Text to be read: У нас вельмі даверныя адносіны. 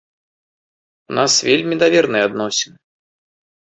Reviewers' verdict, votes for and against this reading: accepted, 2, 0